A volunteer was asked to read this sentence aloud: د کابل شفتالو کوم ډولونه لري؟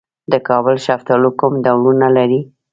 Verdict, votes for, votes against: rejected, 0, 2